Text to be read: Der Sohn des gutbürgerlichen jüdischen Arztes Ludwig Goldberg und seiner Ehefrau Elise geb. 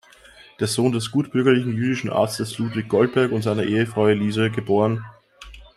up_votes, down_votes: 2, 0